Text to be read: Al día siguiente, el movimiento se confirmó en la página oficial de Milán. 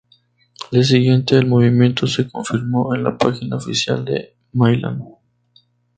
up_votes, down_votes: 0, 2